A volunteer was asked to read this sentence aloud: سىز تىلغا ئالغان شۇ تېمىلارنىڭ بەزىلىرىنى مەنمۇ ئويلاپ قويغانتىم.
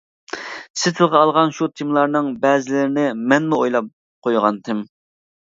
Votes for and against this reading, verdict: 2, 0, accepted